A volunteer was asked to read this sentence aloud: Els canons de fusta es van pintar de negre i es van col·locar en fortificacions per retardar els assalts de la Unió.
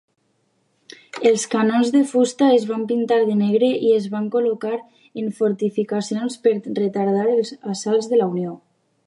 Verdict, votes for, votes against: accepted, 2, 0